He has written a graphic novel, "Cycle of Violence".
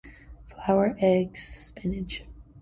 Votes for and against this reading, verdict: 0, 2, rejected